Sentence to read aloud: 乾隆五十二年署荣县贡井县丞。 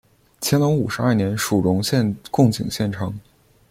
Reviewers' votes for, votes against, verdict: 1, 2, rejected